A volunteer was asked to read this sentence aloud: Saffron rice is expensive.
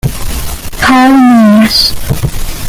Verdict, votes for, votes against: rejected, 0, 2